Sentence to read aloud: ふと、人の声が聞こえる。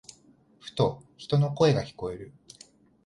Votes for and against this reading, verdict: 2, 0, accepted